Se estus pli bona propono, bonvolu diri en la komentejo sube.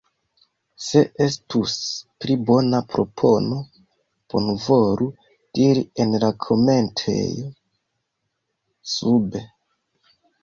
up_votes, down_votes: 2, 0